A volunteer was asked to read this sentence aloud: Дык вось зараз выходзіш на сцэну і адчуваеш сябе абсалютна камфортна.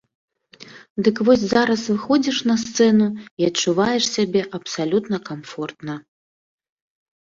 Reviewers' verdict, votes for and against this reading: accepted, 2, 0